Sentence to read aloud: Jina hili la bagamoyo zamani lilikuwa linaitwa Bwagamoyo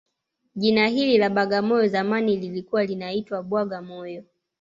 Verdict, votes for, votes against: accepted, 2, 0